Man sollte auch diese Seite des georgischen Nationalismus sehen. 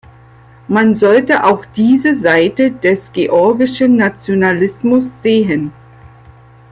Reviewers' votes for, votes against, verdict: 2, 0, accepted